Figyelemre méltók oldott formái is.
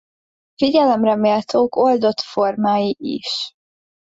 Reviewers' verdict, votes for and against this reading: accepted, 2, 0